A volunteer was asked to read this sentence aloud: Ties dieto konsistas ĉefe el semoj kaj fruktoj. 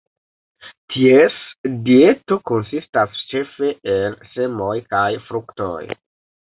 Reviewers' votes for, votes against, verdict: 2, 0, accepted